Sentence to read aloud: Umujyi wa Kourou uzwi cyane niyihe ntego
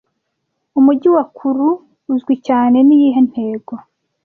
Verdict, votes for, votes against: accepted, 2, 0